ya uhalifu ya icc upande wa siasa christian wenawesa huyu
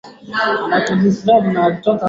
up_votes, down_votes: 2, 10